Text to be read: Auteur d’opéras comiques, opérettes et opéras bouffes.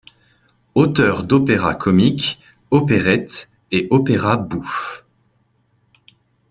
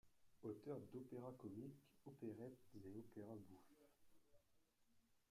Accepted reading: first